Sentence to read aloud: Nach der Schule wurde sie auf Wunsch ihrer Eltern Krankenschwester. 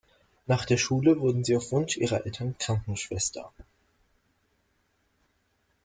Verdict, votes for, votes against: rejected, 1, 2